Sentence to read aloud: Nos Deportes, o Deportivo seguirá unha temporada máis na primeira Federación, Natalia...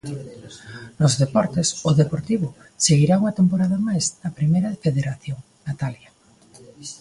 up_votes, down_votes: 1, 2